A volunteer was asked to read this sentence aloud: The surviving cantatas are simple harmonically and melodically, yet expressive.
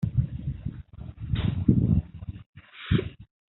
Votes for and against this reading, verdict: 0, 2, rejected